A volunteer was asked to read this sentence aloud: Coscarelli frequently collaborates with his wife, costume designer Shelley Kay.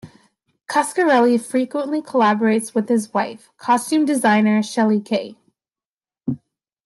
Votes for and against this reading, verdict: 2, 0, accepted